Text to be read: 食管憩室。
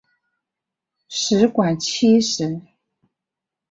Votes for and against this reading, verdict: 3, 1, accepted